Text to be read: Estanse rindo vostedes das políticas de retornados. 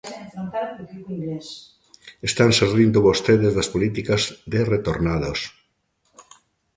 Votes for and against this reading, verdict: 1, 2, rejected